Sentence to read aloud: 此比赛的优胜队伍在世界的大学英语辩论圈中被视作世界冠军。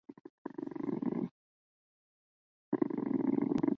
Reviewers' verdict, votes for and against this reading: rejected, 0, 3